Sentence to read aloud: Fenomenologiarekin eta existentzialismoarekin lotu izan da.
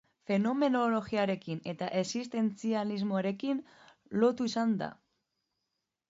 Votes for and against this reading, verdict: 0, 2, rejected